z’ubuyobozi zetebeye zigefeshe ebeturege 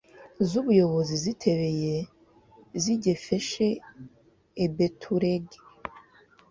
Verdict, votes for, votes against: rejected, 1, 2